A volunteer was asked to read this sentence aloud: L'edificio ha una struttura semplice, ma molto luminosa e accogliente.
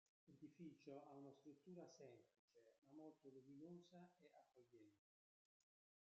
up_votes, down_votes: 0, 2